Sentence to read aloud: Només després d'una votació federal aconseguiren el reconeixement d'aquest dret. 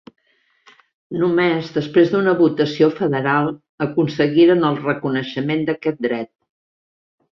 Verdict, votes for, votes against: accepted, 4, 0